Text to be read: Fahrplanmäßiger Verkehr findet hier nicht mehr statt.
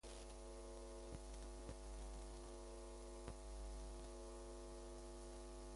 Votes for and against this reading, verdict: 0, 2, rejected